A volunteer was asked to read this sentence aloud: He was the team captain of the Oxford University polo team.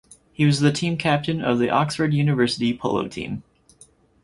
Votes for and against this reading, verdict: 4, 2, accepted